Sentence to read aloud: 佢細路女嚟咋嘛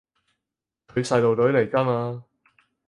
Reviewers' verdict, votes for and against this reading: rejected, 2, 4